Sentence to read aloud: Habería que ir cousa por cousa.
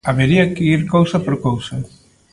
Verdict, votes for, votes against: accepted, 2, 0